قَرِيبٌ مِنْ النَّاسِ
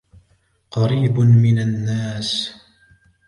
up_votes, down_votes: 2, 0